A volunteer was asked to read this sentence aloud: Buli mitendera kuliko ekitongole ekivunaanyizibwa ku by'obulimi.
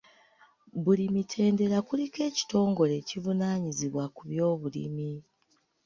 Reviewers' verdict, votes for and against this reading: accepted, 2, 0